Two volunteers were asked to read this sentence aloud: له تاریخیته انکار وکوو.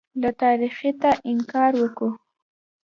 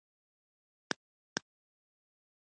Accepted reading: first